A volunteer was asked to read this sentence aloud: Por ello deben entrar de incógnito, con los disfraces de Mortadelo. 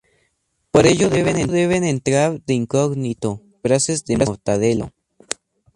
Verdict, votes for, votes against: rejected, 0, 2